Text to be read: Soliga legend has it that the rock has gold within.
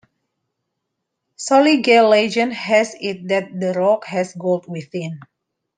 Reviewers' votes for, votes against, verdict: 2, 1, accepted